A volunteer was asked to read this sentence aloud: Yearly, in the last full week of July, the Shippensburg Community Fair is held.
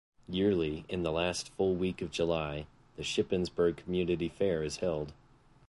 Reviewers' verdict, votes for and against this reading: accepted, 3, 0